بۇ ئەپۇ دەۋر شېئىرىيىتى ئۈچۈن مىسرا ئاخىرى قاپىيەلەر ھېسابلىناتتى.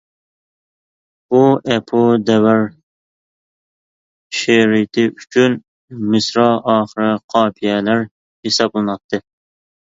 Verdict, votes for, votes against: rejected, 1, 2